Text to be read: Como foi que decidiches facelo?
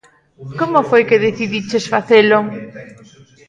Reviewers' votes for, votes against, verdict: 2, 0, accepted